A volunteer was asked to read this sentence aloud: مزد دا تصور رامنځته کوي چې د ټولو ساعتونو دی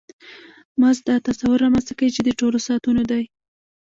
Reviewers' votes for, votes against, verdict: 2, 0, accepted